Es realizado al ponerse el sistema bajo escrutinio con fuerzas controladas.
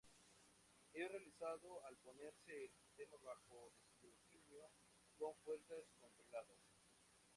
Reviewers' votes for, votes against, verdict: 2, 0, accepted